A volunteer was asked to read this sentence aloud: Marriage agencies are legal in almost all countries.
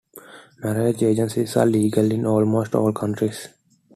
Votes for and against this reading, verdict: 2, 0, accepted